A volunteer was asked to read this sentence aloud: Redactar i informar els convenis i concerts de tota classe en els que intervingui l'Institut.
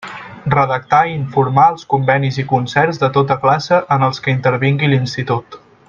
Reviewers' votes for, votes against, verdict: 2, 0, accepted